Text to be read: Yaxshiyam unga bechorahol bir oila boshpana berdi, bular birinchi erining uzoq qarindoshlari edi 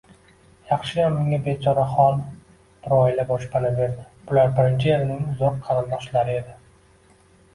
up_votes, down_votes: 2, 0